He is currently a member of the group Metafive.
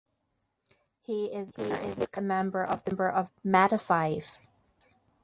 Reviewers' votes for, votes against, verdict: 0, 2, rejected